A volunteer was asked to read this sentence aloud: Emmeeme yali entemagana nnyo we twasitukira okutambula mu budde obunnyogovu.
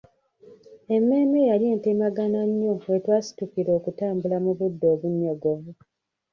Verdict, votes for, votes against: rejected, 0, 2